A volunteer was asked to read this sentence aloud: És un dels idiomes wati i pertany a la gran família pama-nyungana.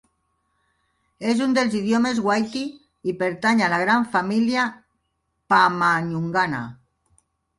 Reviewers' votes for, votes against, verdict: 1, 2, rejected